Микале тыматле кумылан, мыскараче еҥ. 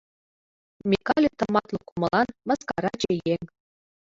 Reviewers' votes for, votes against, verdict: 2, 1, accepted